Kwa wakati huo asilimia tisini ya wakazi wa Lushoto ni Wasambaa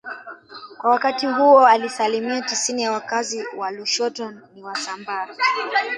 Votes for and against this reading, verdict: 0, 2, rejected